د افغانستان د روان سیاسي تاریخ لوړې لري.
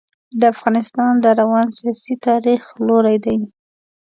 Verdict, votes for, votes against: rejected, 0, 2